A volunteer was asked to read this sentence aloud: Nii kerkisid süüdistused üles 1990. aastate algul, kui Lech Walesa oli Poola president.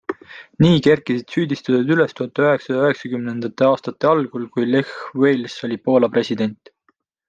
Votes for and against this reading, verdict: 0, 2, rejected